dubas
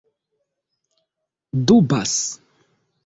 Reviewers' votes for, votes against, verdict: 2, 0, accepted